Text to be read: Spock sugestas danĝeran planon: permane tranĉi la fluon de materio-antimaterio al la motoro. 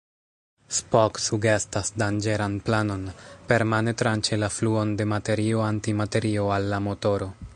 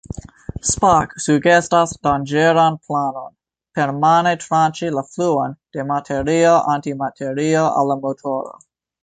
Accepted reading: second